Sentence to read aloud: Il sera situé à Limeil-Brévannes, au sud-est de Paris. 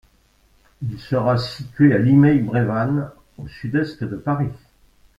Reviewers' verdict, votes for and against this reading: rejected, 1, 2